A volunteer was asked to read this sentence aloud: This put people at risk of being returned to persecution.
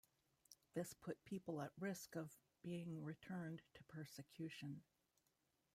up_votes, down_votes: 1, 2